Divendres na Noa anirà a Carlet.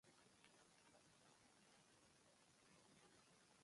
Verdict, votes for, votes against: rejected, 1, 2